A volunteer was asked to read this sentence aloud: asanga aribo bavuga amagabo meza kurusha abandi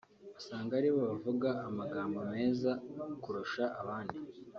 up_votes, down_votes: 1, 2